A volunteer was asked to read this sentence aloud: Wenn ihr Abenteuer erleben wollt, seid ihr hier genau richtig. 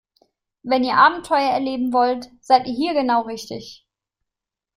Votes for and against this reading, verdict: 2, 0, accepted